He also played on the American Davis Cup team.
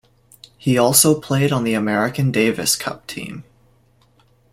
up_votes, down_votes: 2, 0